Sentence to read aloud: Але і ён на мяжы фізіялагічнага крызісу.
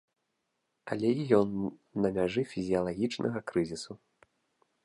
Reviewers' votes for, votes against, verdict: 0, 2, rejected